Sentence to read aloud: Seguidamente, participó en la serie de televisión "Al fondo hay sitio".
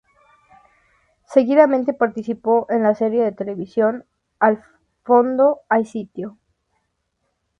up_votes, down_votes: 2, 0